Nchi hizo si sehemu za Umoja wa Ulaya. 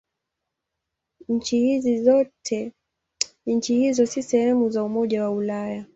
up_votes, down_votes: 9, 6